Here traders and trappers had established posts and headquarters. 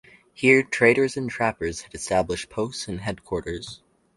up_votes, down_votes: 4, 0